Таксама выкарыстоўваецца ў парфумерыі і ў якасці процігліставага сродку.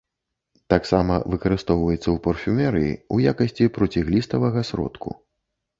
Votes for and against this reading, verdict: 1, 2, rejected